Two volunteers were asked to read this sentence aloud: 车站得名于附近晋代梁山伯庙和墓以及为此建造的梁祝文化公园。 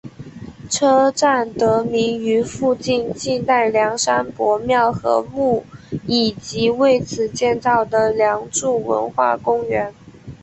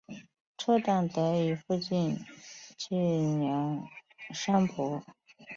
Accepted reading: first